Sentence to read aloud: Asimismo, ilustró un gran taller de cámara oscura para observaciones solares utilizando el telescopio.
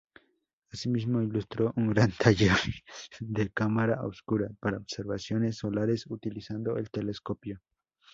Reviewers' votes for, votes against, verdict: 2, 0, accepted